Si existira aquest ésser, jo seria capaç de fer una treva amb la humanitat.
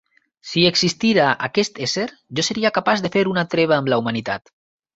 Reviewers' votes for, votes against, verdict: 6, 0, accepted